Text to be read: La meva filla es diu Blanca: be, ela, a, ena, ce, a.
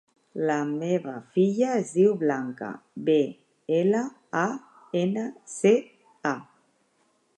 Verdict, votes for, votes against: accepted, 4, 0